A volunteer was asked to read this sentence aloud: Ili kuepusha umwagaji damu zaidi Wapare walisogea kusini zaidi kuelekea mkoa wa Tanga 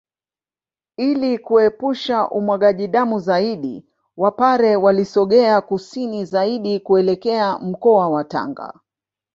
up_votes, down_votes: 2, 1